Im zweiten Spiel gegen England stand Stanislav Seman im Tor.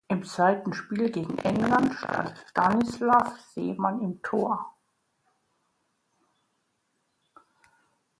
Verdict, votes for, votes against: accepted, 2, 0